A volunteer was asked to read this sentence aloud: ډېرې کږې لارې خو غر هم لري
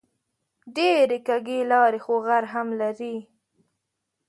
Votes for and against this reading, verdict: 4, 0, accepted